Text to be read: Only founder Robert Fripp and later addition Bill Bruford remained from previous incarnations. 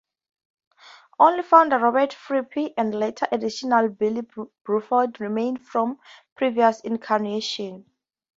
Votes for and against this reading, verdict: 0, 2, rejected